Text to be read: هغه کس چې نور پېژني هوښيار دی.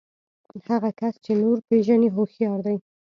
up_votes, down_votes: 2, 0